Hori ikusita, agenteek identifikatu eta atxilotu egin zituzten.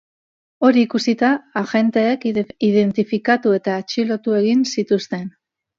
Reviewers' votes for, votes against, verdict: 1, 2, rejected